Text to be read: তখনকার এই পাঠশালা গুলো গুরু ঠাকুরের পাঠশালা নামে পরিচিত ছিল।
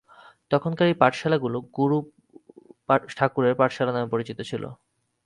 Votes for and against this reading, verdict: 8, 12, rejected